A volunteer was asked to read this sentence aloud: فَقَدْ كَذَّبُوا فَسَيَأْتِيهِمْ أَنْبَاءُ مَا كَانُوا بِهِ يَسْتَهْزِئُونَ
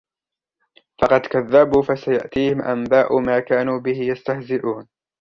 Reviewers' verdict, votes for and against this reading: accepted, 2, 0